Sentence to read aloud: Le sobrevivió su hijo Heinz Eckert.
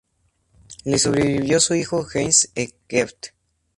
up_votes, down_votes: 2, 0